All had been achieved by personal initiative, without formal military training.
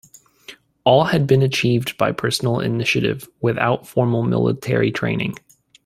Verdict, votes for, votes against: accepted, 2, 0